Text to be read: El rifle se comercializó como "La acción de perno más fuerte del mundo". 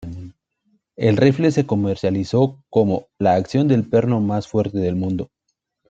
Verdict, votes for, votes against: rejected, 1, 2